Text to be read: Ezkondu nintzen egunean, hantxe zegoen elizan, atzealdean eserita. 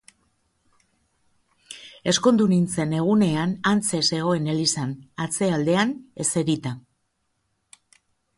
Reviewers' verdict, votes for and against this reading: accepted, 2, 0